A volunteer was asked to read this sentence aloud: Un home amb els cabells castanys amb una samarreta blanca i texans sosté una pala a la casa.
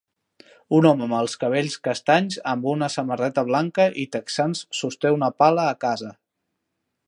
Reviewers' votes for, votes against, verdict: 2, 3, rejected